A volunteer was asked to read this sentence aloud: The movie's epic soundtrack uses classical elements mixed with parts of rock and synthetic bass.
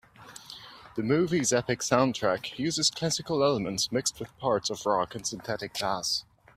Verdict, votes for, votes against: rejected, 1, 2